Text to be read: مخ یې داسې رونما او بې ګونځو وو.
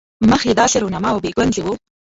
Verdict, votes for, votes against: accepted, 2, 0